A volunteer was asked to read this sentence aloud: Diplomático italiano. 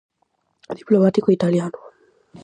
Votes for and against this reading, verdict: 4, 0, accepted